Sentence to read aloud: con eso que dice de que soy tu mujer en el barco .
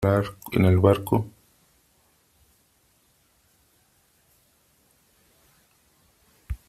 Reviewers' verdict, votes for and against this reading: rejected, 0, 3